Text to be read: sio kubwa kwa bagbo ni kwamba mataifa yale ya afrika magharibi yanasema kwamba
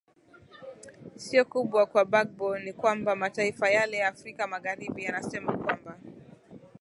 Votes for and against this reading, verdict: 2, 0, accepted